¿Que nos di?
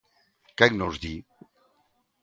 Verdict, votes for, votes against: rejected, 0, 2